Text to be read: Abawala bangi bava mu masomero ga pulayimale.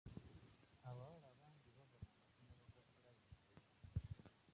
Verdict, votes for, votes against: rejected, 1, 2